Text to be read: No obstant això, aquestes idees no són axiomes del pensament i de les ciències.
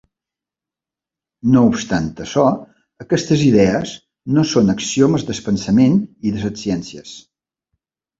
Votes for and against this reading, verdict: 0, 2, rejected